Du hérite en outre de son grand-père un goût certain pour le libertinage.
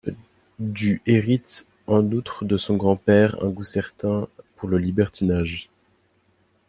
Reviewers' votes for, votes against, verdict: 2, 0, accepted